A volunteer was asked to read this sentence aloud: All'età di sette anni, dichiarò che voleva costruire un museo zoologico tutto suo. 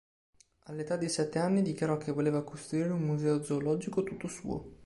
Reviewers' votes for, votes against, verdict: 2, 0, accepted